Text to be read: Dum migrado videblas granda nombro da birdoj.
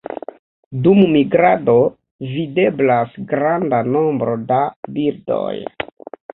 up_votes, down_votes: 0, 2